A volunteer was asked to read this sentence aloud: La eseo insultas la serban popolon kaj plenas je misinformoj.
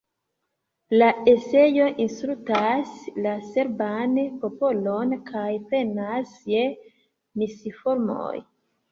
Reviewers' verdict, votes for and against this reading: accepted, 2, 0